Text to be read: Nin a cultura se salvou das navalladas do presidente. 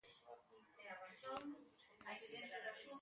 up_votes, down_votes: 0, 2